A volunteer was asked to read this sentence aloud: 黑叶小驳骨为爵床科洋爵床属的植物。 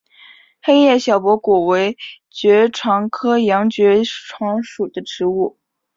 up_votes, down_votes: 3, 0